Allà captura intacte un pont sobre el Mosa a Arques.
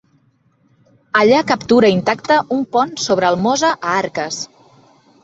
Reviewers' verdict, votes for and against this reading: accepted, 3, 0